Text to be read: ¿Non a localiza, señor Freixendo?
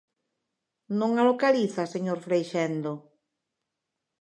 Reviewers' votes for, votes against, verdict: 2, 0, accepted